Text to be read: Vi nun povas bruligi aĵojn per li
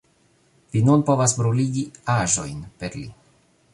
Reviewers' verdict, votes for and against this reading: accepted, 2, 0